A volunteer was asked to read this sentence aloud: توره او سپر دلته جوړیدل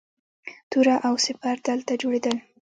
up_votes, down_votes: 1, 2